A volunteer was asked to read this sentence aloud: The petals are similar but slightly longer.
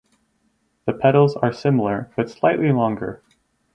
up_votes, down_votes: 2, 2